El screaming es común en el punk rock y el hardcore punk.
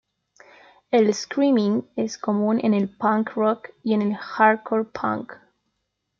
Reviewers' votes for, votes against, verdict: 1, 2, rejected